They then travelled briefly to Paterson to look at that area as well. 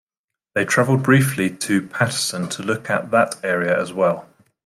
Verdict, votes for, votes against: rejected, 1, 2